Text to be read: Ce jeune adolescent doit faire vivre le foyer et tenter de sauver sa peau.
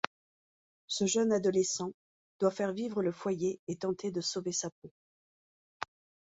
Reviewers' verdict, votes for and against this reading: accepted, 4, 0